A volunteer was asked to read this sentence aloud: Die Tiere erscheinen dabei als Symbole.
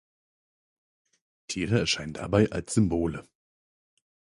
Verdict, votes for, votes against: rejected, 0, 4